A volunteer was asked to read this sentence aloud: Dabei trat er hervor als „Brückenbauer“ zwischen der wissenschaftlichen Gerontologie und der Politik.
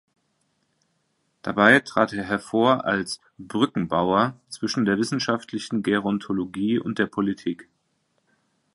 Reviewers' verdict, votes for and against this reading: accepted, 2, 0